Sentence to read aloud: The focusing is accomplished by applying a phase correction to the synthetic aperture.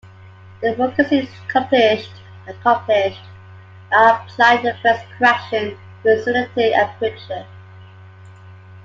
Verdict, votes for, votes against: rejected, 0, 2